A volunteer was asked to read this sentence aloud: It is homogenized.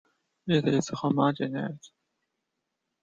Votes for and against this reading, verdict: 2, 0, accepted